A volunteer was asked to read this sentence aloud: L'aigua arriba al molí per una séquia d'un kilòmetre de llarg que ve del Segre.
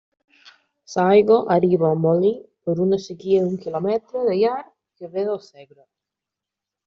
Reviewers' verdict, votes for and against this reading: rejected, 1, 2